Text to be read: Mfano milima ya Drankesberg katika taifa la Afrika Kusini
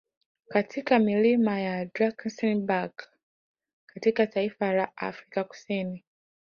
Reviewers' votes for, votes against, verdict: 2, 1, accepted